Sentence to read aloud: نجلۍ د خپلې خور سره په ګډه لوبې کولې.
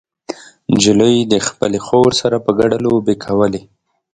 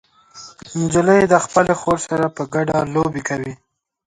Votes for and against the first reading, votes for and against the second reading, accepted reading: 2, 0, 1, 2, first